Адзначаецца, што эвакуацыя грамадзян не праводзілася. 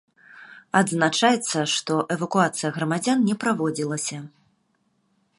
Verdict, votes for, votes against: accepted, 2, 0